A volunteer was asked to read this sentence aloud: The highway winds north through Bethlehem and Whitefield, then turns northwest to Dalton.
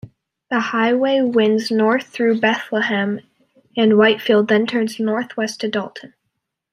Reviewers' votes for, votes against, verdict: 2, 3, rejected